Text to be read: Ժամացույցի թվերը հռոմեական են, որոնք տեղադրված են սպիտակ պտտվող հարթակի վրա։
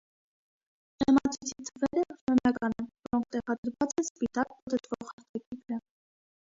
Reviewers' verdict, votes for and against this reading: rejected, 1, 2